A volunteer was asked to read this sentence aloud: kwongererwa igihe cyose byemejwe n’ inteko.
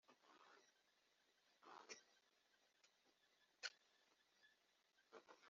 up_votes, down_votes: 0, 2